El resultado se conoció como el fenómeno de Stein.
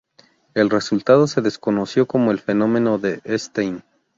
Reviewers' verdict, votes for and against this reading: rejected, 0, 2